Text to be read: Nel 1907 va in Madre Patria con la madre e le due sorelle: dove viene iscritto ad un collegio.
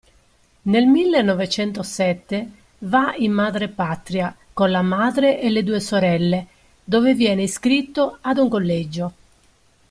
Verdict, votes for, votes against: rejected, 0, 2